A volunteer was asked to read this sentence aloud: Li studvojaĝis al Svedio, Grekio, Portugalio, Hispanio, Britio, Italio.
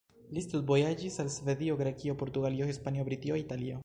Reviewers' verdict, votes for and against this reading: accepted, 2, 1